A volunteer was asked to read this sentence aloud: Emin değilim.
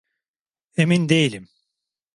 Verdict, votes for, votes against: accepted, 2, 0